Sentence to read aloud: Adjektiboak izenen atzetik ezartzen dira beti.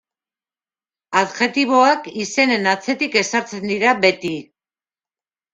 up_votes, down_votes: 2, 0